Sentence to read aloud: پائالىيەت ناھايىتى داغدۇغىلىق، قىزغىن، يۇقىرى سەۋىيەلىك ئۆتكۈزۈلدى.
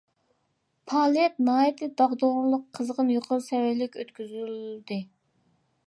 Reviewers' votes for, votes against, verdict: 2, 0, accepted